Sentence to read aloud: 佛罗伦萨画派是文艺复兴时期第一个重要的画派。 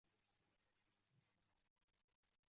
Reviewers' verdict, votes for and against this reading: rejected, 1, 2